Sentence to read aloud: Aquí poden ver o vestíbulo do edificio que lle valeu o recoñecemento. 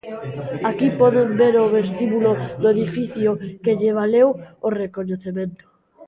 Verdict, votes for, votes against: rejected, 0, 2